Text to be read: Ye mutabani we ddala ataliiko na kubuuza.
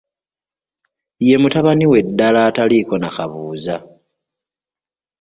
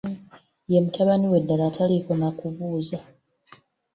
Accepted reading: second